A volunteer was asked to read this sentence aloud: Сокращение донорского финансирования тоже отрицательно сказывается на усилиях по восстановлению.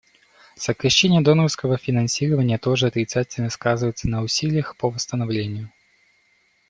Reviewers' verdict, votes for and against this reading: accepted, 2, 0